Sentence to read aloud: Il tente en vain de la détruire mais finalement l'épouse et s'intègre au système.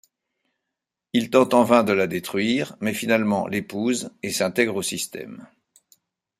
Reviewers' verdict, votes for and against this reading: accepted, 2, 0